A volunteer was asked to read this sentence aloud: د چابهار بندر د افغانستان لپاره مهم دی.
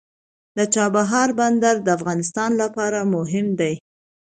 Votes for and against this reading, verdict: 2, 0, accepted